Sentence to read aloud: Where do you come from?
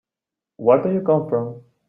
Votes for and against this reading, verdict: 3, 0, accepted